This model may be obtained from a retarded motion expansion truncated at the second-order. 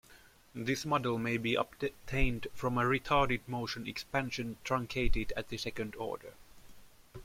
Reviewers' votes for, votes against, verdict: 2, 1, accepted